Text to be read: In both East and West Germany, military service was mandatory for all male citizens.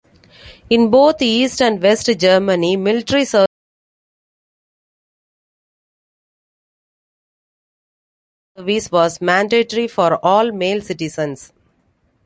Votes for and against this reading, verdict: 0, 2, rejected